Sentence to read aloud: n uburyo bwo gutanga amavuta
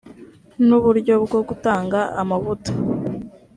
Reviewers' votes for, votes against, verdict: 2, 0, accepted